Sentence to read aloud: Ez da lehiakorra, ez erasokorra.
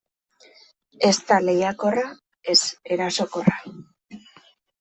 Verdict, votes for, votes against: accepted, 2, 0